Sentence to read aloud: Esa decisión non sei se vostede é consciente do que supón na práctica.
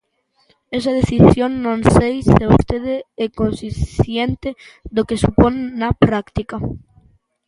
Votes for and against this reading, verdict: 0, 2, rejected